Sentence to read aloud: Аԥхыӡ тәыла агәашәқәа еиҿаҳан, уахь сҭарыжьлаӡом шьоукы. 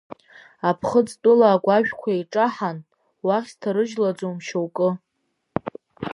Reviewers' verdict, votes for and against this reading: accepted, 3, 0